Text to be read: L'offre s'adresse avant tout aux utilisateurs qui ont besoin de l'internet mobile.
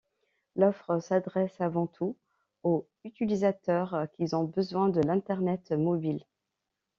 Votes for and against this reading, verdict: 1, 2, rejected